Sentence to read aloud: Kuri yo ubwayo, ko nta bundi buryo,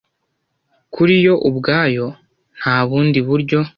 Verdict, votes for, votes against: rejected, 1, 2